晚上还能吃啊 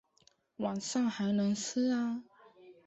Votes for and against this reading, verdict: 4, 1, accepted